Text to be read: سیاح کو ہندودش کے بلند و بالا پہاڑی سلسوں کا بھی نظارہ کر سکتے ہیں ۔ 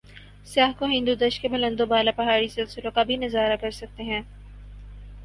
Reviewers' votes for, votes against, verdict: 4, 2, accepted